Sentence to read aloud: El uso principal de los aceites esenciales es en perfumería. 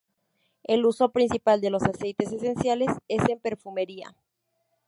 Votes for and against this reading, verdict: 0, 2, rejected